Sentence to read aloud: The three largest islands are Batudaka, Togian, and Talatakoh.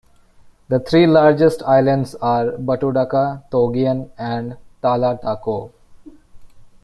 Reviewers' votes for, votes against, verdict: 2, 0, accepted